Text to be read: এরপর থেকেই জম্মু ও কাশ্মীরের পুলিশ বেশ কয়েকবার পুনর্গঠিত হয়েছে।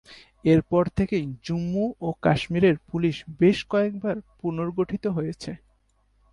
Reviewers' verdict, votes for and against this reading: accepted, 3, 1